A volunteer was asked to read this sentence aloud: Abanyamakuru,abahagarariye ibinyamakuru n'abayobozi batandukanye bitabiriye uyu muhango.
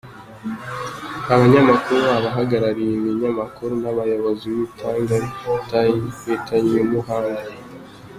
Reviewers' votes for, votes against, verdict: 0, 2, rejected